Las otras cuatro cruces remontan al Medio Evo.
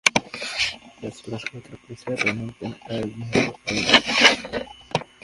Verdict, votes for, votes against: rejected, 0, 2